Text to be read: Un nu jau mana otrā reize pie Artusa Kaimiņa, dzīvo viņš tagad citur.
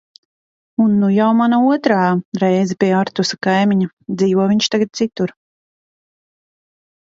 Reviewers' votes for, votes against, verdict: 2, 0, accepted